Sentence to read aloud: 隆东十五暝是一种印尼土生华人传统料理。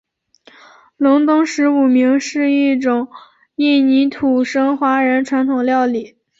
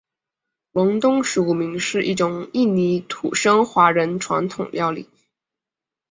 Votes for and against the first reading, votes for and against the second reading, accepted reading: 1, 2, 2, 0, second